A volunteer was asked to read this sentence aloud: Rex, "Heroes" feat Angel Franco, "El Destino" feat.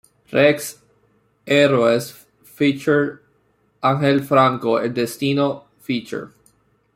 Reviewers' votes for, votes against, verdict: 0, 2, rejected